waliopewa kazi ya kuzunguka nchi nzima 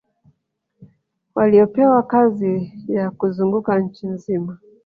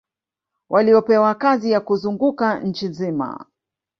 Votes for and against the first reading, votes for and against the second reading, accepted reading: 1, 2, 2, 0, second